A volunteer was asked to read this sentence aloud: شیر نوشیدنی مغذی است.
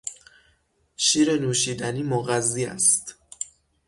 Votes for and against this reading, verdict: 3, 6, rejected